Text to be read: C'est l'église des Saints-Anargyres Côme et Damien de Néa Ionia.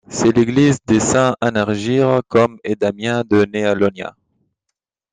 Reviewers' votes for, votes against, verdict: 2, 0, accepted